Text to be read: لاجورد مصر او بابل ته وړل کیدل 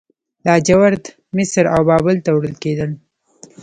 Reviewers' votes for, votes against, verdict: 2, 0, accepted